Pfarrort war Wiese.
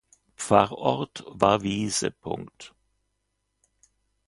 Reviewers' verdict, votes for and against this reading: accepted, 2, 0